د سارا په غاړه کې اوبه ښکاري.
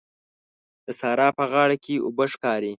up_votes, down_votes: 2, 0